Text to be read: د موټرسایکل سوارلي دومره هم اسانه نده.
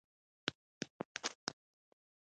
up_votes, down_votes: 0, 2